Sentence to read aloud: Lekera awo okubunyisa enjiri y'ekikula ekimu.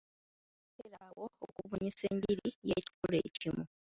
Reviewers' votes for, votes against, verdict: 1, 2, rejected